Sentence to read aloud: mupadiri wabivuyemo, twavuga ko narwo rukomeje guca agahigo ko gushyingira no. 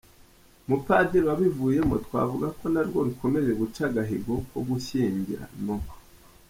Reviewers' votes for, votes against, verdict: 2, 0, accepted